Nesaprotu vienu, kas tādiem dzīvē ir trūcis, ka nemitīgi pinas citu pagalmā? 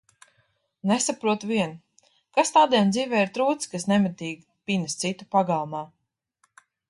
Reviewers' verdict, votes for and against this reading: rejected, 1, 2